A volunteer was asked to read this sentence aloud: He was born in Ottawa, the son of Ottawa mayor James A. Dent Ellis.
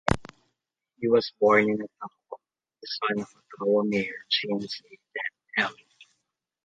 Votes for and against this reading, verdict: 0, 2, rejected